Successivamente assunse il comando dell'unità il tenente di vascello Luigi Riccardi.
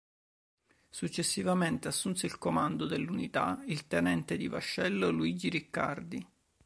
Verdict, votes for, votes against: accepted, 2, 0